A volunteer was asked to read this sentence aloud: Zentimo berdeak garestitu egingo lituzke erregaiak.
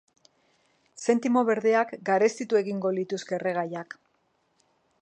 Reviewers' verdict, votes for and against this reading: accepted, 3, 0